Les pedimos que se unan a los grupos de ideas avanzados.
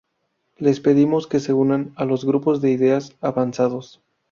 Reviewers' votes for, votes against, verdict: 2, 0, accepted